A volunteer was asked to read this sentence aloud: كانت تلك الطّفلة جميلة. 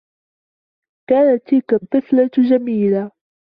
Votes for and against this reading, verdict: 2, 0, accepted